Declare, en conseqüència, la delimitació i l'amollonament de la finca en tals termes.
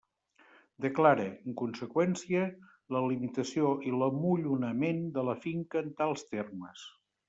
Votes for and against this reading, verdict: 0, 2, rejected